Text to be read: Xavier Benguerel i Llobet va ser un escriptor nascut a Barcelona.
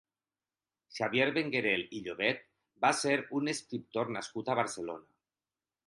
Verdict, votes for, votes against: accepted, 4, 0